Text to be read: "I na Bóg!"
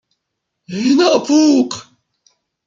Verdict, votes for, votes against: rejected, 1, 2